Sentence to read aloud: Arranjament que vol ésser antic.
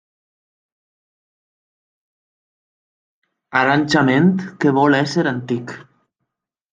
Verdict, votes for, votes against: rejected, 1, 2